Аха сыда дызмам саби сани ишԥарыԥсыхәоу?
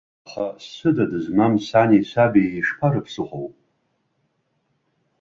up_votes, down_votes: 0, 2